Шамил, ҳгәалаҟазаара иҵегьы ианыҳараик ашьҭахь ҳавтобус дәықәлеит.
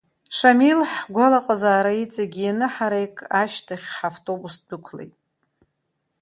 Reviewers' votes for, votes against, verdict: 4, 1, accepted